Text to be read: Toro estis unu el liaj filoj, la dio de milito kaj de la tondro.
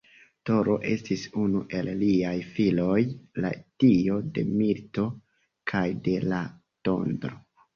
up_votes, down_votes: 2, 1